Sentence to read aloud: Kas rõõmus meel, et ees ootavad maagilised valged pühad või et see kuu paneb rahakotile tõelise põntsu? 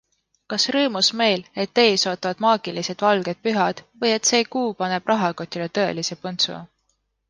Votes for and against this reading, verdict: 2, 0, accepted